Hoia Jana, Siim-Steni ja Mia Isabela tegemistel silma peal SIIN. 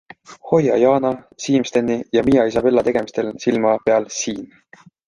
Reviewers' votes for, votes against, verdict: 2, 1, accepted